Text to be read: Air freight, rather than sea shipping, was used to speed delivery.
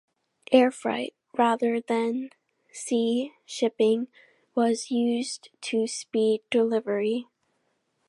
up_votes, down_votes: 2, 0